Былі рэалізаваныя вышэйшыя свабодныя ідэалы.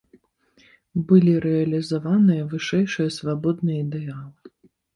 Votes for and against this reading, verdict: 2, 0, accepted